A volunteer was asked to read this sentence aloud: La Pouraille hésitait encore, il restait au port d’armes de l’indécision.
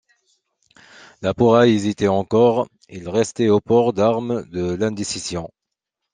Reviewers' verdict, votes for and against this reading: accepted, 2, 0